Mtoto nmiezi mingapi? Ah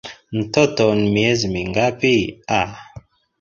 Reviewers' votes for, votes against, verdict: 0, 2, rejected